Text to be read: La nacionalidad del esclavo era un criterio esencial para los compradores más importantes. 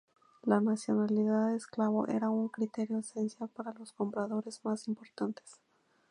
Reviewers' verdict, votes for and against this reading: rejected, 0, 2